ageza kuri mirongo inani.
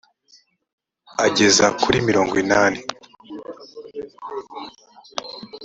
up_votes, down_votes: 2, 0